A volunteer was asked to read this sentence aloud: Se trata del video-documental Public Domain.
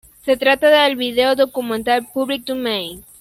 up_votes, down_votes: 2, 3